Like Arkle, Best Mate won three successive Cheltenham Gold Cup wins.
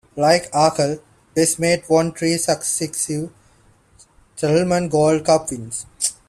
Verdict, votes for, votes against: rejected, 0, 2